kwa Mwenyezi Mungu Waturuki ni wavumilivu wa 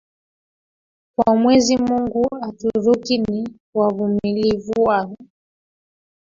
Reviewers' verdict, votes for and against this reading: rejected, 1, 3